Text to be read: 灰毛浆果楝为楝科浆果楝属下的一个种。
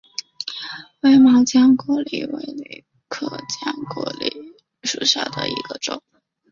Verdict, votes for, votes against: accepted, 2, 0